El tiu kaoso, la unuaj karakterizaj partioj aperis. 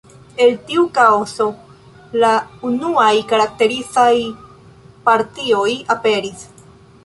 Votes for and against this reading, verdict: 1, 2, rejected